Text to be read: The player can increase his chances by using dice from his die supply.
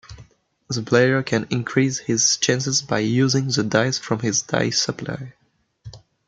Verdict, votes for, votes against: rejected, 0, 2